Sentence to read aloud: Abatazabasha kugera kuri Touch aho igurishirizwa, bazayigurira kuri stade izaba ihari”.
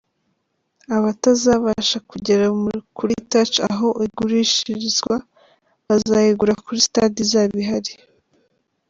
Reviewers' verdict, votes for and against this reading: rejected, 0, 2